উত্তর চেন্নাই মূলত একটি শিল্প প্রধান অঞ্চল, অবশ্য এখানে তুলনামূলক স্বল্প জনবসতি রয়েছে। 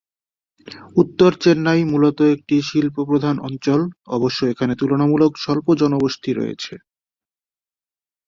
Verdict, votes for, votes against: accepted, 5, 0